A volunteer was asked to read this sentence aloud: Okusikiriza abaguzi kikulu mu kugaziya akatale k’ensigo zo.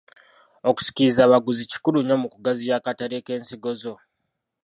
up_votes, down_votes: 1, 2